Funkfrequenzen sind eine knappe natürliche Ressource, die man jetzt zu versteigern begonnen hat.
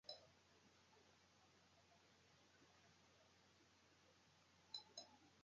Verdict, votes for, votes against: rejected, 0, 2